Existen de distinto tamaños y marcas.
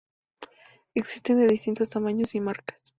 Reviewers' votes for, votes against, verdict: 0, 2, rejected